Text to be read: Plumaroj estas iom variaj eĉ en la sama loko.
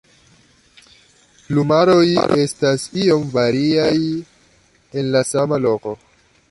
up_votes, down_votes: 0, 2